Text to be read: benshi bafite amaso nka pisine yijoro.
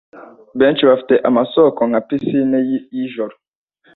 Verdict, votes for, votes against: rejected, 1, 2